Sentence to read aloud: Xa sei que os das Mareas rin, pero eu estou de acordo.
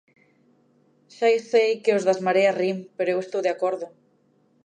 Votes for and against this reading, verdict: 2, 1, accepted